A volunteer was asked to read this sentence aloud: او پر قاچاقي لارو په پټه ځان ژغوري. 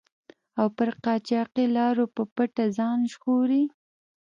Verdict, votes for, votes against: accepted, 2, 0